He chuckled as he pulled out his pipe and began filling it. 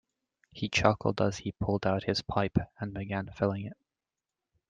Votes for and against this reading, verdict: 2, 0, accepted